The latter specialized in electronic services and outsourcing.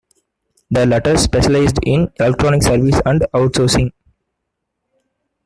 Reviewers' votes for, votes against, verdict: 0, 2, rejected